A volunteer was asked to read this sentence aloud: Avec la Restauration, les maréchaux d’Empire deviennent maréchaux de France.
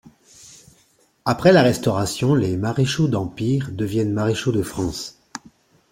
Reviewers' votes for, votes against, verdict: 1, 2, rejected